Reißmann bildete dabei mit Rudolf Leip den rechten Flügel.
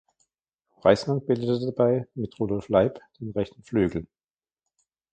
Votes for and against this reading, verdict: 0, 2, rejected